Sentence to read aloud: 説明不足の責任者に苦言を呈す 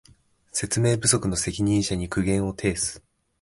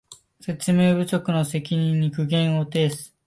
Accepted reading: first